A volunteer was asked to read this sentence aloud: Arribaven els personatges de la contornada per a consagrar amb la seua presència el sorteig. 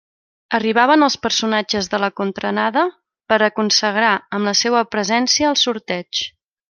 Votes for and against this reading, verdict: 0, 2, rejected